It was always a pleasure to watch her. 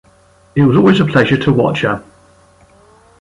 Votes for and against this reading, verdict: 1, 2, rejected